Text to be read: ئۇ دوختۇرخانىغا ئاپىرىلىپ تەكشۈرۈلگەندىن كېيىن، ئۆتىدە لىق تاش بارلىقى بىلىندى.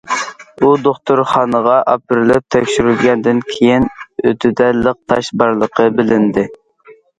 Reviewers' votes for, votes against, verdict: 2, 0, accepted